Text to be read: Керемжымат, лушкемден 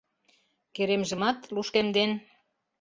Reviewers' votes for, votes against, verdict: 2, 0, accepted